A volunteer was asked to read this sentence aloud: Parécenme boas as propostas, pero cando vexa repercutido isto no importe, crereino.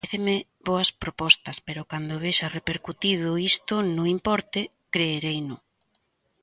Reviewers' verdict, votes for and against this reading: rejected, 0, 2